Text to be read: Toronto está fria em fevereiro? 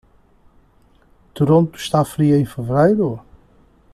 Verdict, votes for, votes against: accepted, 2, 1